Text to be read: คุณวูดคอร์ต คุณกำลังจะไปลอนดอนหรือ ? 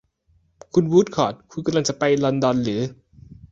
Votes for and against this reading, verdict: 2, 0, accepted